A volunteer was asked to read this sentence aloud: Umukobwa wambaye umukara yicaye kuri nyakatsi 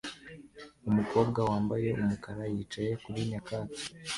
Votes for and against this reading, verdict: 2, 1, accepted